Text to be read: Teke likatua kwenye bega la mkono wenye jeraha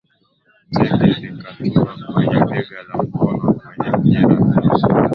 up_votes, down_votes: 6, 17